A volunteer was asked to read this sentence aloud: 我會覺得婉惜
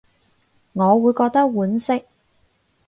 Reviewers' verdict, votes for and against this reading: accepted, 4, 0